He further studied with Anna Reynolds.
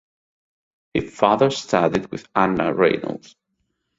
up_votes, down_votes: 2, 2